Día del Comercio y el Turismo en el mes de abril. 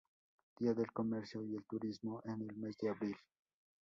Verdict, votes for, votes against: rejected, 0, 2